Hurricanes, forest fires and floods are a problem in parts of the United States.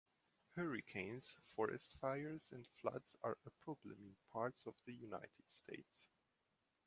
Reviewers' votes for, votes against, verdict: 1, 2, rejected